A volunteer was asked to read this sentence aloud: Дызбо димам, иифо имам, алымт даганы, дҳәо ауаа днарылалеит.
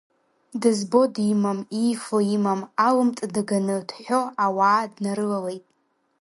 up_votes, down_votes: 1, 2